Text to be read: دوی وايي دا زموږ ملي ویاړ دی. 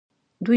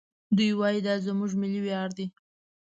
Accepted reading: second